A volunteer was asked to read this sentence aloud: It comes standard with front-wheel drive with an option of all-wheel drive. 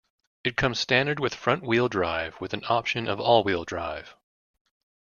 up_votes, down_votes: 2, 0